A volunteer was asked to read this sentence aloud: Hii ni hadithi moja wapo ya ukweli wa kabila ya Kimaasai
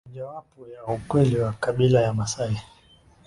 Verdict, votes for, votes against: rejected, 0, 2